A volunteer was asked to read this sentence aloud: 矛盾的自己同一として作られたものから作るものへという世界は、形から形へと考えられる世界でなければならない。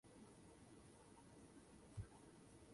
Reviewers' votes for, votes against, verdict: 0, 2, rejected